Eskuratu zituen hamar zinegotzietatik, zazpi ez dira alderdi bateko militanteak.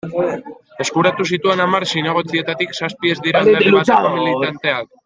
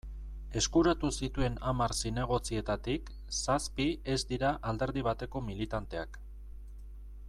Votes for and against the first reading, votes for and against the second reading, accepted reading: 1, 2, 2, 0, second